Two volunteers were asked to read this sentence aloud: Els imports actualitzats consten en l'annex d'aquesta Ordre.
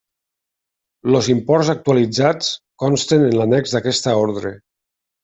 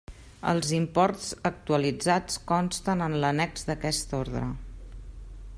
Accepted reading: second